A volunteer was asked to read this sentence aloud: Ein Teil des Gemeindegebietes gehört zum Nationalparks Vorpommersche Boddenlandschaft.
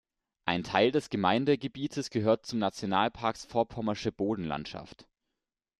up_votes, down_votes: 2, 1